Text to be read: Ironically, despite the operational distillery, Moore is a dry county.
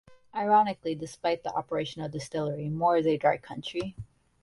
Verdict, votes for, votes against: rejected, 0, 2